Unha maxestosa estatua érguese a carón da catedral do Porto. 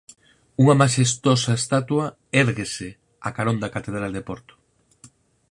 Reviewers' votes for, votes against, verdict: 0, 4, rejected